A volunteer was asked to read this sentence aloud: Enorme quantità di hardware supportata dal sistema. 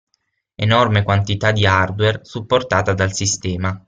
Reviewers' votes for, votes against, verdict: 6, 0, accepted